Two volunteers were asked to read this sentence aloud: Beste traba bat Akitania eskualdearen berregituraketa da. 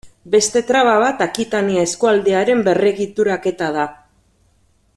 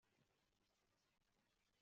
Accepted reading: first